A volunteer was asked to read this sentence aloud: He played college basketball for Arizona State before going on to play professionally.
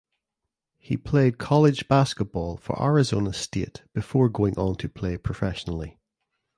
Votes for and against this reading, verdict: 2, 0, accepted